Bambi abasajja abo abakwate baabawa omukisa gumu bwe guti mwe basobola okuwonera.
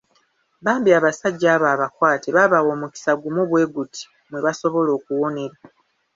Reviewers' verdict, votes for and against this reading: accepted, 2, 0